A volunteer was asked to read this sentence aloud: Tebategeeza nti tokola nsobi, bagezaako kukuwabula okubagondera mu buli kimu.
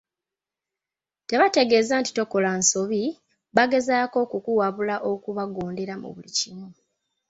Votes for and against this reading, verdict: 2, 0, accepted